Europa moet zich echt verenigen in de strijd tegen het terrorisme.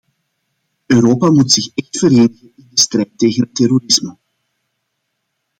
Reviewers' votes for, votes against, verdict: 0, 2, rejected